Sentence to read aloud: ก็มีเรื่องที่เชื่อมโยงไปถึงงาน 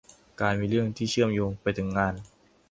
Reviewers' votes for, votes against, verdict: 0, 2, rejected